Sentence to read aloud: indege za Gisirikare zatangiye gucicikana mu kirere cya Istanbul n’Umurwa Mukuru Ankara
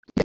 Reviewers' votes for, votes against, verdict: 0, 3, rejected